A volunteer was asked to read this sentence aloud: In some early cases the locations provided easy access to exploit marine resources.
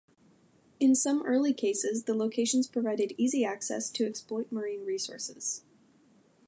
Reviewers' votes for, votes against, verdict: 2, 0, accepted